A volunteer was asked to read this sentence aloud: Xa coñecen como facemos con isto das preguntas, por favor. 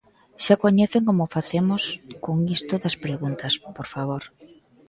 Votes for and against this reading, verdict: 2, 0, accepted